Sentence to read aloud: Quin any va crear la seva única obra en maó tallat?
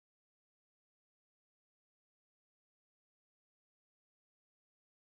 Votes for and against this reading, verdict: 0, 2, rejected